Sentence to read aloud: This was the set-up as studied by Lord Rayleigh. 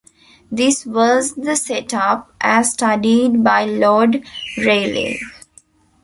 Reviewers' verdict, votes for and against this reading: accepted, 2, 1